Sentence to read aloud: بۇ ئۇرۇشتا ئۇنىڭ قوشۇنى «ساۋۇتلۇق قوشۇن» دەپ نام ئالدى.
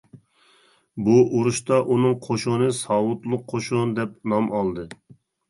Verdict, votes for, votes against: accepted, 3, 0